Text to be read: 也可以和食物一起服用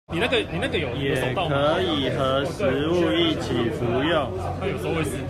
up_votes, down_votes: 1, 2